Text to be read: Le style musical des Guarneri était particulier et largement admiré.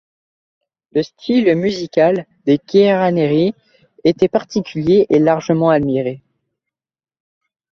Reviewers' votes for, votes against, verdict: 1, 2, rejected